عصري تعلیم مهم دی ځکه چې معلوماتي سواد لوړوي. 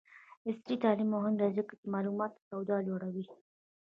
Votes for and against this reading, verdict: 1, 2, rejected